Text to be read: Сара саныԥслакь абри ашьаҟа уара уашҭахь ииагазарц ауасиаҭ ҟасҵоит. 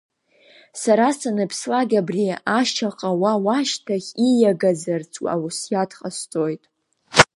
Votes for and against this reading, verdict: 1, 2, rejected